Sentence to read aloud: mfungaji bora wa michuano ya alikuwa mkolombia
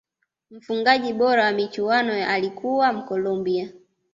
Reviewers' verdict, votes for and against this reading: accepted, 2, 0